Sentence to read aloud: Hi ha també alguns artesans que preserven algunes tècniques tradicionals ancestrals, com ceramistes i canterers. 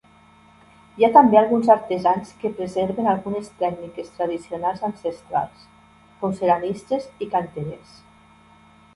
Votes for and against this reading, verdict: 2, 0, accepted